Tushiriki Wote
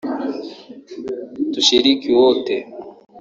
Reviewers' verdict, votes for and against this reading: rejected, 1, 2